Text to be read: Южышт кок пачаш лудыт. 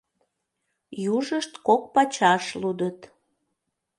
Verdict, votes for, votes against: accepted, 2, 0